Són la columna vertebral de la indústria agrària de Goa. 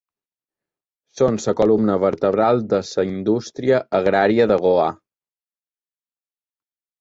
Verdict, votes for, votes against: rejected, 0, 2